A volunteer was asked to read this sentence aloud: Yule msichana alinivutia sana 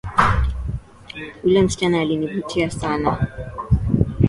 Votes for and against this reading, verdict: 2, 0, accepted